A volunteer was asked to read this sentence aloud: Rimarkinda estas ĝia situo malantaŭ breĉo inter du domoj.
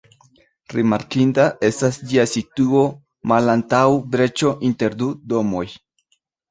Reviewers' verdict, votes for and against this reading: accepted, 2, 0